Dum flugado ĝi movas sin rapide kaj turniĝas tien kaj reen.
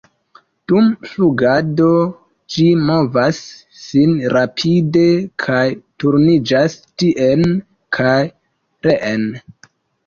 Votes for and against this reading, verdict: 2, 3, rejected